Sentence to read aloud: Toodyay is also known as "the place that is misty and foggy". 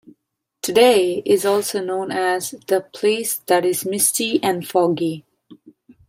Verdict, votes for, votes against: rejected, 0, 2